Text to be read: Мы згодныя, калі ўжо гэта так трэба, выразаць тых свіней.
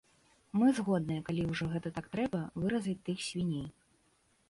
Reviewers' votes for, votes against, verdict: 2, 0, accepted